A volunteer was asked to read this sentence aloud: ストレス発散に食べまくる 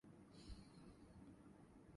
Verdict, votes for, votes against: rejected, 0, 3